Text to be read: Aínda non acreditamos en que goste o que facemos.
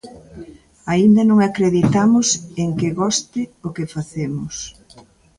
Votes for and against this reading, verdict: 2, 0, accepted